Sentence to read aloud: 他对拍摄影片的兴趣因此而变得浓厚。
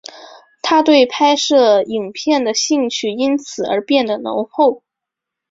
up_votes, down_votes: 5, 0